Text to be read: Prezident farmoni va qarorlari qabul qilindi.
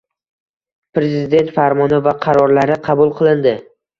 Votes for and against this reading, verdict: 2, 0, accepted